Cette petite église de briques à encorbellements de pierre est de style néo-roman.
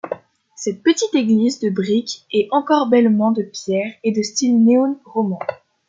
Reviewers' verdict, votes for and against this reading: rejected, 1, 2